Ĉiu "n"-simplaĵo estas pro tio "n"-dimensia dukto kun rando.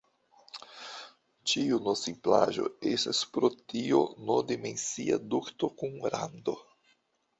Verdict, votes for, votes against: rejected, 1, 2